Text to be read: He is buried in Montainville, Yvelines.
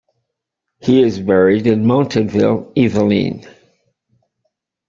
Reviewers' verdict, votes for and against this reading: rejected, 1, 2